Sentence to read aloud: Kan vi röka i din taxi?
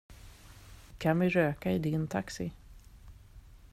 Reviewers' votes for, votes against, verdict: 2, 0, accepted